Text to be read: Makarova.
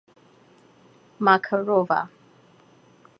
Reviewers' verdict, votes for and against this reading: accepted, 2, 0